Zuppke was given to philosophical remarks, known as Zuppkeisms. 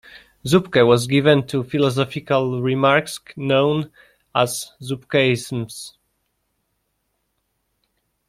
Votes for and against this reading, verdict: 2, 0, accepted